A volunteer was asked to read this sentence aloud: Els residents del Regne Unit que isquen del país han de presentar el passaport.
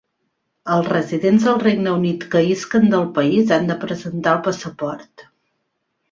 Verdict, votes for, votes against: accepted, 2, 0